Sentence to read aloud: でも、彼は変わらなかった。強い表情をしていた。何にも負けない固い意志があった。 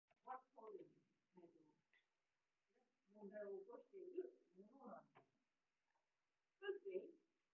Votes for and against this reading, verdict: 0, 2, rejected